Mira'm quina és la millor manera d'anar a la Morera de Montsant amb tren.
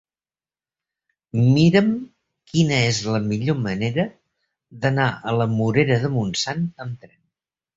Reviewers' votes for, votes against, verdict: 3, 0, accepted